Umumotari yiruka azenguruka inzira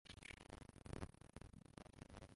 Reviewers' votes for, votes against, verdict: 0, 2, rejected